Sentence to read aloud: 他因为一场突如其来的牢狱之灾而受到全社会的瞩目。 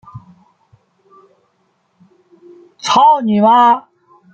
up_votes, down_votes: 0, 2